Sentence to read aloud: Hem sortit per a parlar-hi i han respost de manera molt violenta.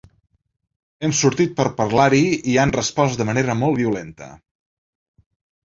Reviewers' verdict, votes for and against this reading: rejected, 1, 2